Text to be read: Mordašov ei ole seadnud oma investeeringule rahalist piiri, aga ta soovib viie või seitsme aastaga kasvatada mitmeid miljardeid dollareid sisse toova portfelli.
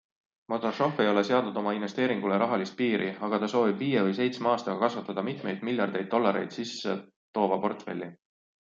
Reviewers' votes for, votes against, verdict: 2, 0, accepted